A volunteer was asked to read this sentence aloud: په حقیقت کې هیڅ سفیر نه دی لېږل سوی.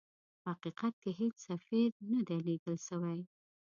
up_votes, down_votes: 1, 2